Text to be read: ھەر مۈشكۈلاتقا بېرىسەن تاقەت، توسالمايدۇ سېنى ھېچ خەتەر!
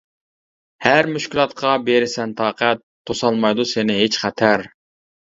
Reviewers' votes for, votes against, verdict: 2, 0, accepted